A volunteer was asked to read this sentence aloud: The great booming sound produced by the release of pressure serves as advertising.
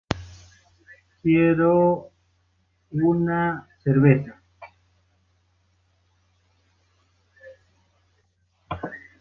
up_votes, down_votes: 0, 2